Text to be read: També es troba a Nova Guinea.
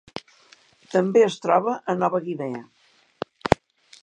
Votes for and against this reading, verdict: 4, 1, accepted